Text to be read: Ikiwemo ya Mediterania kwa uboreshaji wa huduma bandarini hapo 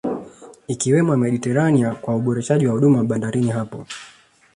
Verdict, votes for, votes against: accepted, 2, 0